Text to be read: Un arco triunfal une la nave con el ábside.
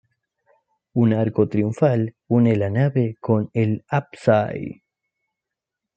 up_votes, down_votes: 0, 2